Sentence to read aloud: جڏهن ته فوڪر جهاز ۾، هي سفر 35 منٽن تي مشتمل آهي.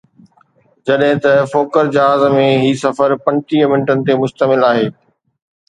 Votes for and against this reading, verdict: 0, 2, rejected